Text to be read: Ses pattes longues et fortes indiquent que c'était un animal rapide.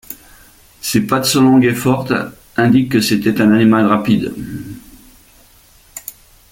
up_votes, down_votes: 1, 2